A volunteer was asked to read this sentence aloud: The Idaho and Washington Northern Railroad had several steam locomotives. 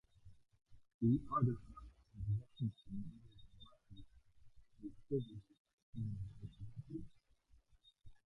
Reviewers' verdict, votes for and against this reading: rejected, 0, 2